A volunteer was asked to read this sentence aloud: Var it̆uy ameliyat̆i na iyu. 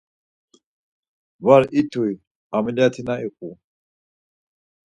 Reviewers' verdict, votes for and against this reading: accepted, 4, 0